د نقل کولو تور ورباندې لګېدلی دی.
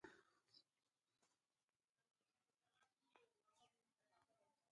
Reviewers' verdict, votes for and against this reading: rejected, 0, 2